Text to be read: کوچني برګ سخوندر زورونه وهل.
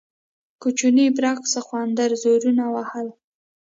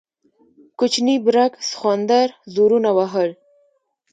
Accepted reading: first